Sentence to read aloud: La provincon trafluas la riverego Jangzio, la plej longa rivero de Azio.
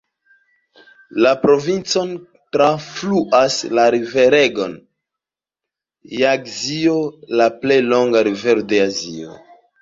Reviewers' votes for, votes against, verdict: 1, 2, rejected